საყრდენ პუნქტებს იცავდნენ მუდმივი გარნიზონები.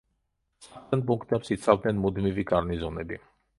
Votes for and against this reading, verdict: 0, 2, rejected